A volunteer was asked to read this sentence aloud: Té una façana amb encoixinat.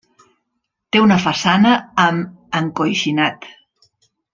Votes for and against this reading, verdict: 1, 2, rejected